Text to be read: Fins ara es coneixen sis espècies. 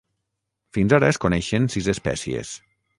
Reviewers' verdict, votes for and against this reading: accepted, 6, 0